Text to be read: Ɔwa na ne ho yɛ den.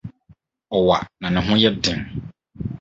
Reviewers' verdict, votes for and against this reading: accepted, 4, 0